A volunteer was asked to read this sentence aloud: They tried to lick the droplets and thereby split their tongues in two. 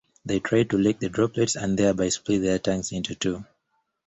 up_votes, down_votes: 1, 2